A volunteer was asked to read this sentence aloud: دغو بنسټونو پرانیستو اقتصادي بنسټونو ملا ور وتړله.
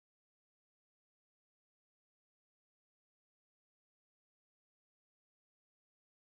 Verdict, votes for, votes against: rejected, 1, 2